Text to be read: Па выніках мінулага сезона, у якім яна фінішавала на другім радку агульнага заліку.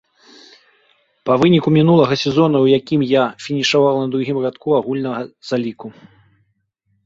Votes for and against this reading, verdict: 0, 3, rejected